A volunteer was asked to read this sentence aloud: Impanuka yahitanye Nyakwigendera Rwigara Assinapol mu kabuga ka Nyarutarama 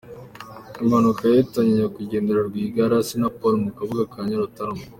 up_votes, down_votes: 2, 0